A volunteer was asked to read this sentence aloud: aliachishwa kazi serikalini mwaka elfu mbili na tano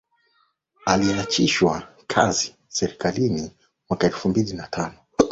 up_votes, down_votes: 6, 0